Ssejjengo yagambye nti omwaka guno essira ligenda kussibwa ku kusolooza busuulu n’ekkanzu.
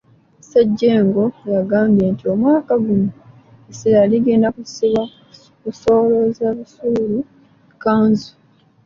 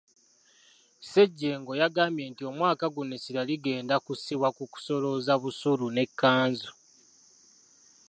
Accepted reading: second